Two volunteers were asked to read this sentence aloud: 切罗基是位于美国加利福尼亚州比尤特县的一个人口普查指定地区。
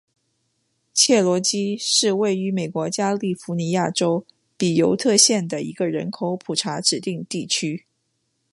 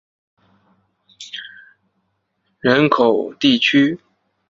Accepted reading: first